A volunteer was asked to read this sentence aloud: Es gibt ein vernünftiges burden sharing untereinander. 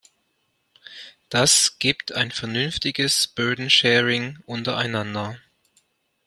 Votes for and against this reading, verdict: 0, 2, rejected